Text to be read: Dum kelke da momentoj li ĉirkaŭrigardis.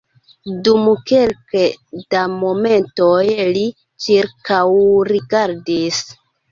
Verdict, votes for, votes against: rejected, 1, 2